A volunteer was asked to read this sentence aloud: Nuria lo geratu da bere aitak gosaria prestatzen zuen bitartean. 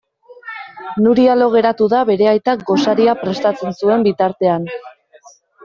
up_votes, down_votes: 0, 2